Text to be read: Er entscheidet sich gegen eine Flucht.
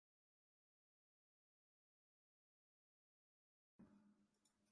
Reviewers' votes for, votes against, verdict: 0, 2, rejected